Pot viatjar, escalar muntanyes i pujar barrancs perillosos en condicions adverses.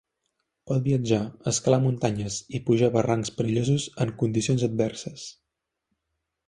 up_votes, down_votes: 3, 0